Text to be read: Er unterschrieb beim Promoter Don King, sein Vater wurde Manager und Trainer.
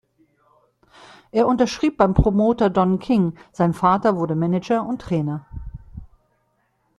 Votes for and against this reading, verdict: 2, 0, accepted